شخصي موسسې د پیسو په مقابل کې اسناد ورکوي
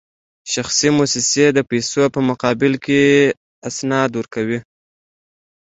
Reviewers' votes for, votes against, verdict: 2, 0, accepted